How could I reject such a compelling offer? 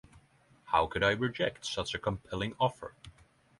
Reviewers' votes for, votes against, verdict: 3, 0, accepted